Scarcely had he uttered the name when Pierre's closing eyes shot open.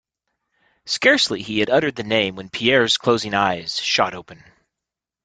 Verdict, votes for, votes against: rejected, 1, 2